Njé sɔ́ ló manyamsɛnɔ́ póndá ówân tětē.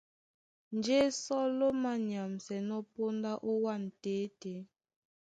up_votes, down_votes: 2, 0